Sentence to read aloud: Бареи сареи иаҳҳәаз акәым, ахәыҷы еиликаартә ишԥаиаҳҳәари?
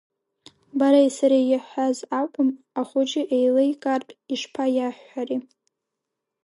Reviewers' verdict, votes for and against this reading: rejected, 1, 2